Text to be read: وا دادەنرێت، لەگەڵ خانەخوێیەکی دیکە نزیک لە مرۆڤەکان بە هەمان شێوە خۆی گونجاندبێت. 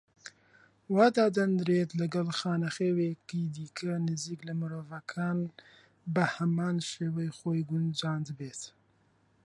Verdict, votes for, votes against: rejected, 1, 2